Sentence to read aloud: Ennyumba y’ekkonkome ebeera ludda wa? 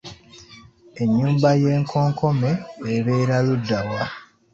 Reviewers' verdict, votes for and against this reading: accepted, 2, 1